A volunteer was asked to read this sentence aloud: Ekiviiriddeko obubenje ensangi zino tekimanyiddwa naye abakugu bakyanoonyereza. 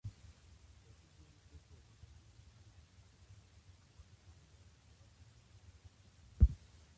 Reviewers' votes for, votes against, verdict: 0, 2, rejected